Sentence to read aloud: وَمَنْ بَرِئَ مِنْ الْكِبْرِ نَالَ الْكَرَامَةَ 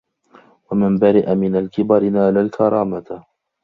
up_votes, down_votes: 2, 0